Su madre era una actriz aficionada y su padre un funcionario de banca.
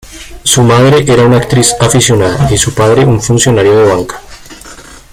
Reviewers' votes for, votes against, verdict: 2, 1, accepted